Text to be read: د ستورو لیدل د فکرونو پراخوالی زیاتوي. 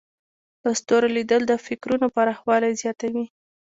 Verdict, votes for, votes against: accepted, 2, 0